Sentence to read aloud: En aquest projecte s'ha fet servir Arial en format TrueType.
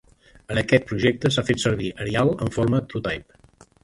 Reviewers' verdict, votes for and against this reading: rejected, 1, 2